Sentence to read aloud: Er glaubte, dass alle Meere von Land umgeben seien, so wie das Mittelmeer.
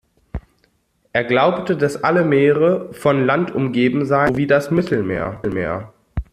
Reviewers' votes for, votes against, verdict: 0, 2, rejected